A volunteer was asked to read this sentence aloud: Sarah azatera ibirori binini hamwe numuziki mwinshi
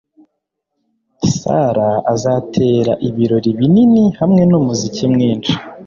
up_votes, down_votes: 2, 0